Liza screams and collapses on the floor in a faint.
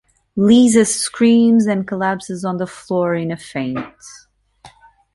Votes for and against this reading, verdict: 2, 1, accepted